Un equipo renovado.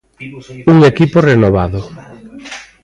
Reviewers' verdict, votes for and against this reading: accepted, 2, 1